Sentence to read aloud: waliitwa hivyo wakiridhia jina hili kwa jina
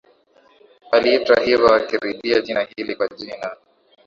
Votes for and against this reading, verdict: 2, 0, accepted